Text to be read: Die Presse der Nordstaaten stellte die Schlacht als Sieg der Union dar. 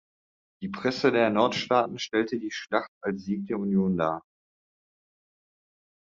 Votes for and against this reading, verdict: 2, 0, accepted